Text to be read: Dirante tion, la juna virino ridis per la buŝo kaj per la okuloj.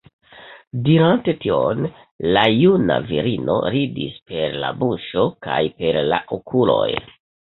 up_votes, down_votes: 2, 0